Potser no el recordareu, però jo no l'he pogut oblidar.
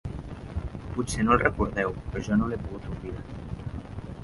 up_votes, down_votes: 1, 2